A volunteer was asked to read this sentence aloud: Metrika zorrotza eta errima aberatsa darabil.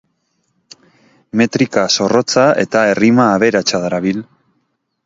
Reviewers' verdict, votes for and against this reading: accepted, 2, 0